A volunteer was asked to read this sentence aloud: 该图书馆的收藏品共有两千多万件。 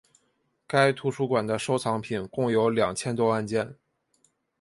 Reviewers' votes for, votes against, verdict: 4, 0, accepted